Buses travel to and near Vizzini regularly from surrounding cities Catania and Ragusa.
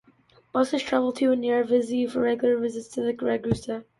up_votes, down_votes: 0, 2